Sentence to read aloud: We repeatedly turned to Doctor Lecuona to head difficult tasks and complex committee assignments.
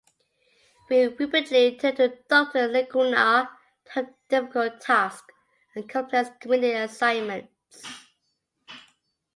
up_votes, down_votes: 2, 1